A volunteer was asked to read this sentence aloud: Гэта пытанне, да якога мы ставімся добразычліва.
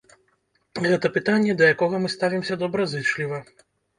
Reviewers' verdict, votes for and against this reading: rejected, 0, 2